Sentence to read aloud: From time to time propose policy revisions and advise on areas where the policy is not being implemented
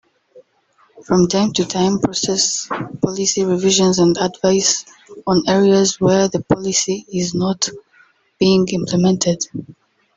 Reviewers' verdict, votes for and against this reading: rejected, 0, 2